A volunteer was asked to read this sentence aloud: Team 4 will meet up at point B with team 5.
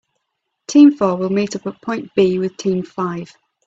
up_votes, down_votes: 0, 2